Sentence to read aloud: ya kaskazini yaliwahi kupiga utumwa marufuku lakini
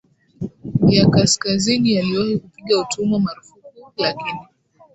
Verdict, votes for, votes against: rejected, 0, 2